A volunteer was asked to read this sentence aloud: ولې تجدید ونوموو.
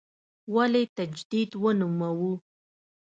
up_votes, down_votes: 2, 0